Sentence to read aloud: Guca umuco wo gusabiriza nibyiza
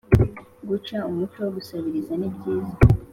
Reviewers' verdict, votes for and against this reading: accepted, 3, 0